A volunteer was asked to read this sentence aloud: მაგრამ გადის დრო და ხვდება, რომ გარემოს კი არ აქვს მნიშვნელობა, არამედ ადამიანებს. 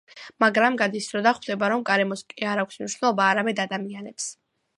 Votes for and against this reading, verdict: 2, 1, accepted